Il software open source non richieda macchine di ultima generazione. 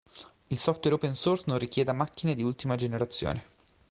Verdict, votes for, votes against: accepted, 2, 0